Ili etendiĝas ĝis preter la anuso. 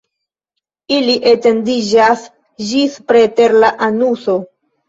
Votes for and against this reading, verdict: 3, 0, accepted